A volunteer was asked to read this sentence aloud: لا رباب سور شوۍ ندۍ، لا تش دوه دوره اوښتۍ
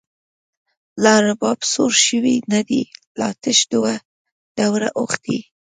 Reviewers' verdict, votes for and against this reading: rejected, 1, 2